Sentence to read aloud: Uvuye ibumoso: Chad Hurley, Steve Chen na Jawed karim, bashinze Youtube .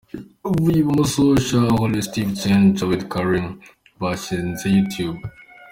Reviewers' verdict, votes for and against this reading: accepted, 2, 0